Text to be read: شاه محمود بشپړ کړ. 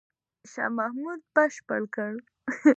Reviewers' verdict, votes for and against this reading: rejected, 0, 2